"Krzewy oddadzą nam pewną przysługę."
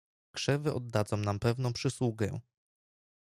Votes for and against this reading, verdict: 2, 0, accepted